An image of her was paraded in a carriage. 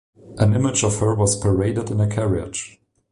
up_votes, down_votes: 2, 0